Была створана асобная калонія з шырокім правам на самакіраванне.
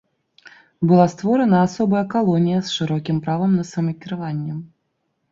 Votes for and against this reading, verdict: 2, 0, accepted